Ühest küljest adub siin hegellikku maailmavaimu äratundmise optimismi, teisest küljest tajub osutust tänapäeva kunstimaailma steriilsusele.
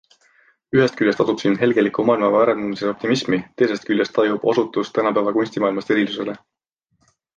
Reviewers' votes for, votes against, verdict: 0, 2, rejected